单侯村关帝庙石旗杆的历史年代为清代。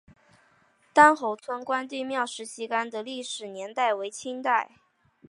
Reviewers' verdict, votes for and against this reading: accepted, 6, 1